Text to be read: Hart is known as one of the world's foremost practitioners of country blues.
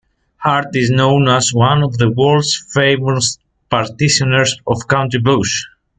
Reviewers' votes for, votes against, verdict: 0, 2, rejected